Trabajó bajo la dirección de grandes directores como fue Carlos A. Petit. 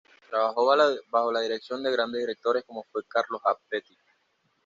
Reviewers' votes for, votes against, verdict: 1, 2, rejected